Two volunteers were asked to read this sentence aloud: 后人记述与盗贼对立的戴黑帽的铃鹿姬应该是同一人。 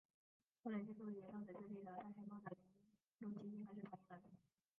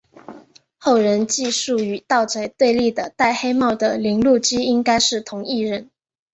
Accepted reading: second